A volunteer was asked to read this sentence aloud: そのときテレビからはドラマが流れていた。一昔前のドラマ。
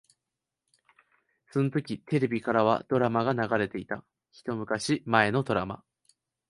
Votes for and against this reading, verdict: 2, 0, accepted